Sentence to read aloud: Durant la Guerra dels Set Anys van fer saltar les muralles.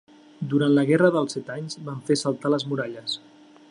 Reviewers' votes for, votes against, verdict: 3, 0, accepted